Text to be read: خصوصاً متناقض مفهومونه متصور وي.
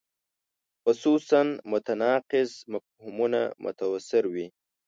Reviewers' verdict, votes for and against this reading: rejected, 1, 2